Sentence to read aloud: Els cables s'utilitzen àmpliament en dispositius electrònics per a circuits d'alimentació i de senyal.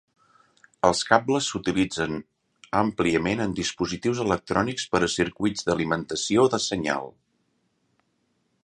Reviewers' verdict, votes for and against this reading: rejected, 0, 2